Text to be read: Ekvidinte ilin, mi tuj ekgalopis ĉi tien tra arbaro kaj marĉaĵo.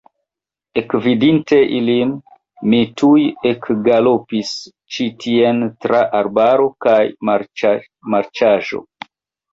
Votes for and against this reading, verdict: 0, 3, rejected